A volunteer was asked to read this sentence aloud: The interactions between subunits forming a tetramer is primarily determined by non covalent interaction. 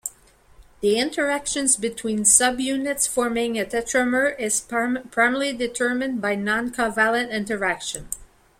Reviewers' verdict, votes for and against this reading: rejected, 1, 2